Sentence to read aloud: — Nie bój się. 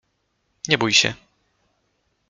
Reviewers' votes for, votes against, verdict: 2, 0, accepted